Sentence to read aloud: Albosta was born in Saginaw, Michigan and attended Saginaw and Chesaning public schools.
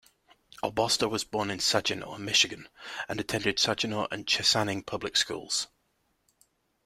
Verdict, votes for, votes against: accepted, 2, 0